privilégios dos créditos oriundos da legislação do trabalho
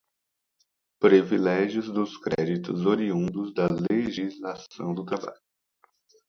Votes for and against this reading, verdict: 0, 2, rejected